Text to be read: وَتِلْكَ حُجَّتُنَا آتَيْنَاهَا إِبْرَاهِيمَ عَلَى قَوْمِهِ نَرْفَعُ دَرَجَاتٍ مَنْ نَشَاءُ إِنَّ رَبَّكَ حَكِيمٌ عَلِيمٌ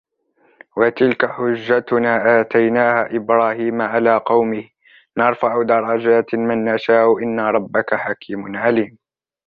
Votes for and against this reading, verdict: 1, 2, rejected